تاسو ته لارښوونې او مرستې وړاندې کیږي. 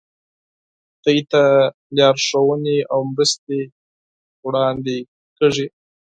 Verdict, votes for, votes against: rejected, 0, 4